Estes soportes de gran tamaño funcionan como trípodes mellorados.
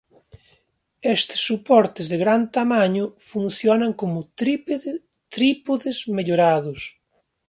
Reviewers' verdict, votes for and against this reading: rejected, 0, 2